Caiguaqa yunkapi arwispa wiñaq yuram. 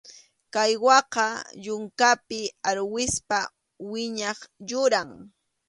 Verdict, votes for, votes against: accepted, 2, 0